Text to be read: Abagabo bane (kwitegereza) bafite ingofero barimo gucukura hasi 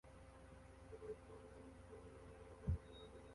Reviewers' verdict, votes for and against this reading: rejected, 0, 2